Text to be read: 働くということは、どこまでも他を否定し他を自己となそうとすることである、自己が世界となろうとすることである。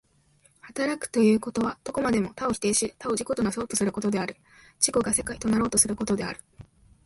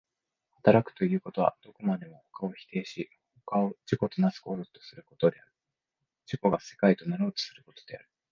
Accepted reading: first